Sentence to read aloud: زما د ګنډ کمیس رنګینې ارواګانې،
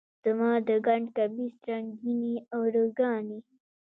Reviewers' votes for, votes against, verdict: 2, 1, accepted